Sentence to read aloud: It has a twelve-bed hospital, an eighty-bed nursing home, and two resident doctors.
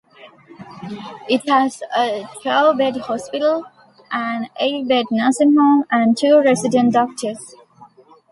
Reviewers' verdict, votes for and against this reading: rejected, 0, 2